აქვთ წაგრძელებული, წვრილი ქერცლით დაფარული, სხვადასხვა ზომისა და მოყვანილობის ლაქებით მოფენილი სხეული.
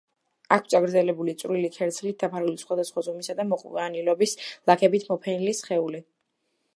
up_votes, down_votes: 3, 1